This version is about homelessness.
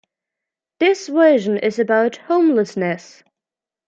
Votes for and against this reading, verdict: 2, 0, accepted